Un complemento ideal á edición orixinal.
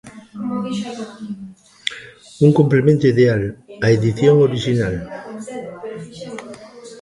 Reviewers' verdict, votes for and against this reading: rejected, 0, 2